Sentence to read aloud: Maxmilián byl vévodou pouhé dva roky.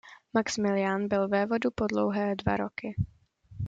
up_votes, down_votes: 0, 2